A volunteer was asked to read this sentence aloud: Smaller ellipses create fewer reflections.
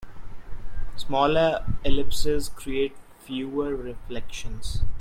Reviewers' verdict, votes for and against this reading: accepted, 2, 0